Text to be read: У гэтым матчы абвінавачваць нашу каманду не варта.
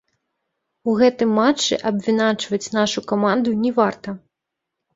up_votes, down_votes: 3, 1